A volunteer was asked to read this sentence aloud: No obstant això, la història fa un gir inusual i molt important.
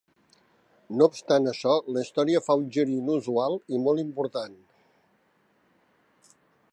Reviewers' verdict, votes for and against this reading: accepted, 3, 0